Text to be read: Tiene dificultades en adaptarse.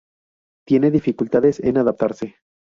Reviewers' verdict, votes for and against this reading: accepted, 2, 0